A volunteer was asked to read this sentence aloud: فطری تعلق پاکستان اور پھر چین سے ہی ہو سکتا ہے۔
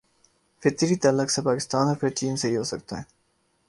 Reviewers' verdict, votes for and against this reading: rejected, 0, 2